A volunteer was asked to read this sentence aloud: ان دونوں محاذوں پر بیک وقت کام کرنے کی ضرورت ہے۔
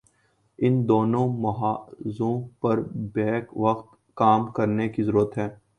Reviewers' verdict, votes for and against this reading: accepted, 2, 0